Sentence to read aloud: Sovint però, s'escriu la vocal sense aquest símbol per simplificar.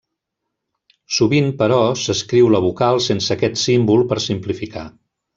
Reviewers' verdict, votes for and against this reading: rejected, 1, 2